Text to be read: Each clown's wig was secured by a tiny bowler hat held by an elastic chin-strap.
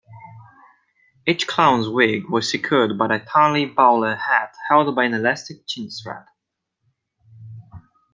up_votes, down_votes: 0, 2